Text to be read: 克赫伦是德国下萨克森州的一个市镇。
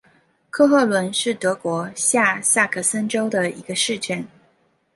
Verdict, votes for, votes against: accepted, 2, 0